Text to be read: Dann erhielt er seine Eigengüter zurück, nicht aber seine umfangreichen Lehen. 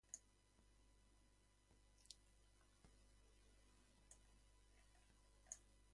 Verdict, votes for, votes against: rejected, 0, 2